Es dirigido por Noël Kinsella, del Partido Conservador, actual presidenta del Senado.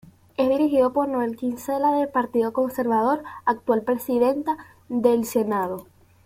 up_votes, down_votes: 2, 0